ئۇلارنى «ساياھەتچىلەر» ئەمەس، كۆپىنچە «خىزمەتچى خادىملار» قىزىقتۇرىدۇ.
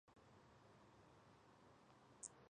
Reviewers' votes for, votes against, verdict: 0, 2, rejected